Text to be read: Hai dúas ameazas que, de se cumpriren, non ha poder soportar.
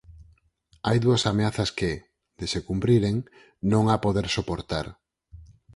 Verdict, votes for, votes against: accepted, 4, 0